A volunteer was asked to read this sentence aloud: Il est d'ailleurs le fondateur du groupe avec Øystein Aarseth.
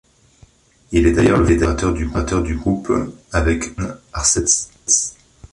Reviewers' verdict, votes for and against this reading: rejected, 0, 3